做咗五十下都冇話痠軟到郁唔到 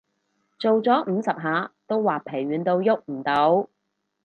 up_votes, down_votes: 0, 2